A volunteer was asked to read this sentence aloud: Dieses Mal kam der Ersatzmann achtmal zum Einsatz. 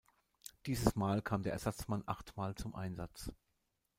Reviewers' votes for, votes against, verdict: 0, 2, rejected